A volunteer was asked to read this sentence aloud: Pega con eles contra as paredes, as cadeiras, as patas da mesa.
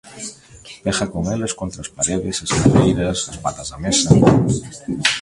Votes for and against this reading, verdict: 1, 2, rejected